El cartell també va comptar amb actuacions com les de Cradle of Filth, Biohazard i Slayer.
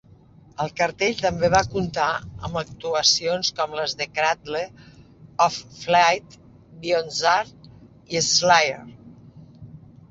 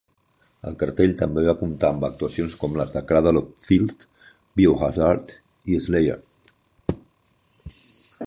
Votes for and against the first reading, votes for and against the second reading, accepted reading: 0, 2, 2, 0, second